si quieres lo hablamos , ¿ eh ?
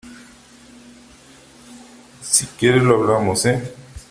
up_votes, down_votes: 2, 0